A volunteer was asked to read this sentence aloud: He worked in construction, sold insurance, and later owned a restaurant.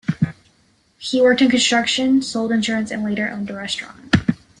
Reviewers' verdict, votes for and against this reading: rejected, 0, 2